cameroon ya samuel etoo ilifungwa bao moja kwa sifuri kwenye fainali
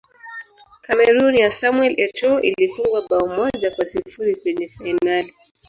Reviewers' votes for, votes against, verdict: 0, 2, rejected